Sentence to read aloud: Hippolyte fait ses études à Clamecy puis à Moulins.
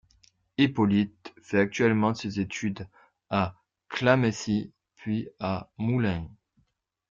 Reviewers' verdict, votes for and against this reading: rejected, 0, 2